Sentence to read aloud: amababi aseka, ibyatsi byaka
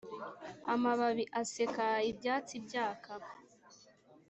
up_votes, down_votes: 2, 0